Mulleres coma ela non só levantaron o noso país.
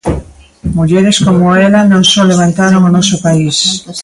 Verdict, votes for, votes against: accepted, 2, 1